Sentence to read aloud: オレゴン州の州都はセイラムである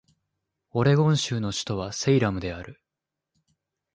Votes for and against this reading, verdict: 1, 2, rejected